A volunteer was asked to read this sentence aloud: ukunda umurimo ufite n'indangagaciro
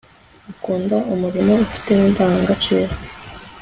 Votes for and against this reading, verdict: 2, 1, accepted